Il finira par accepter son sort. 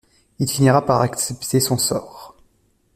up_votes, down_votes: 0, 2